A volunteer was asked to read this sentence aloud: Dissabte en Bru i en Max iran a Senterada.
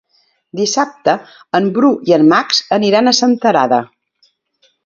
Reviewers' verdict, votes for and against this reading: rejected, 1, 2